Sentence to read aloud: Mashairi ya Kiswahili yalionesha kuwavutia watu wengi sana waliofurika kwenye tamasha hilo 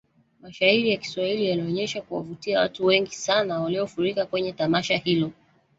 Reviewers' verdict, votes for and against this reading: accepted, 2, 1